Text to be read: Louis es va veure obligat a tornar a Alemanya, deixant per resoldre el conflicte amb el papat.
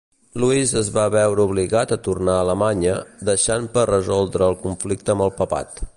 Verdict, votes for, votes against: accepted, 3, 0